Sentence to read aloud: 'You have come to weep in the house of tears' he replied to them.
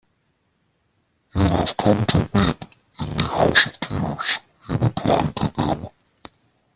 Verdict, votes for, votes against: rejected, 0, 2